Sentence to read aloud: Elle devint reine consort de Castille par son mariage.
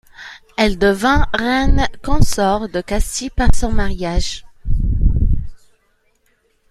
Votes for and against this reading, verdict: 2, 0, accepted